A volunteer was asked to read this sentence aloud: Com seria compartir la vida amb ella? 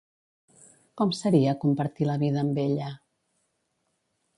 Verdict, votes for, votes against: accepted, 2, 0